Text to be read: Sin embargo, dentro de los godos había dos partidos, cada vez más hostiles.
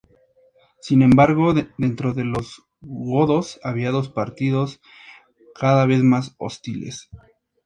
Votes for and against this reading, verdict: 2, 0, accepted